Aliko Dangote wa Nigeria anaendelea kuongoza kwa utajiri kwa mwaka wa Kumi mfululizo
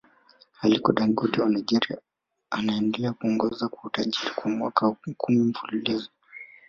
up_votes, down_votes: 1, 2